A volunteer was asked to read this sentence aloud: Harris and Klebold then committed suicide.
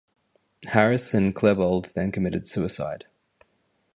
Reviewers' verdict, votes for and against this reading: accepted, 2, 0